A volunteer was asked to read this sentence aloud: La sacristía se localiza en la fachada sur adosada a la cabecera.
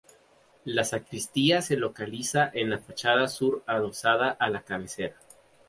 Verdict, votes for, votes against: accepted, 4, 0